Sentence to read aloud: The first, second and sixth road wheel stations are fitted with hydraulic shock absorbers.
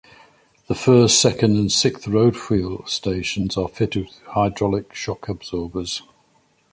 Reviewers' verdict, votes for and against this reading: rejected, 0, 2